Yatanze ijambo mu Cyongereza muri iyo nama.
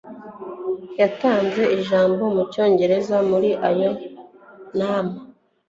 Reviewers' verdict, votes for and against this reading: rejected, 0, 2